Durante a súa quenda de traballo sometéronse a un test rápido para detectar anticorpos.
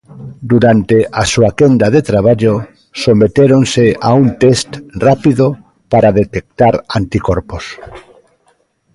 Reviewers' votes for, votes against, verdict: 2, 1, accepted